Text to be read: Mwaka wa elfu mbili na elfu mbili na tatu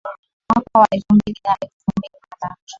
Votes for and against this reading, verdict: 0, 2, rejected